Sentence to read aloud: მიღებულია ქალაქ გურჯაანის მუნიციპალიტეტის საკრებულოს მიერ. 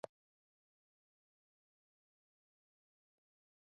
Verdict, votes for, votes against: rejected, 0, 2